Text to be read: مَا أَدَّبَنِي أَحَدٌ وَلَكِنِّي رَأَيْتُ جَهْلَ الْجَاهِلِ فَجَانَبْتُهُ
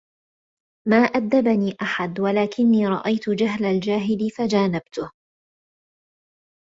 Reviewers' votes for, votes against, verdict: 2, 0, accepted